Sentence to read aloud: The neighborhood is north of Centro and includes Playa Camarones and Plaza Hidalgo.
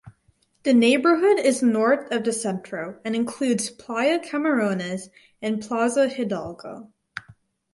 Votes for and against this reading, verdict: 2, 2, rejected